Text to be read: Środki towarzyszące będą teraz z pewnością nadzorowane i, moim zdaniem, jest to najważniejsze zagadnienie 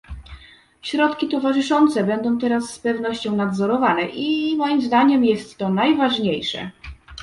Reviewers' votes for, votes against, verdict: 0, 2, rejected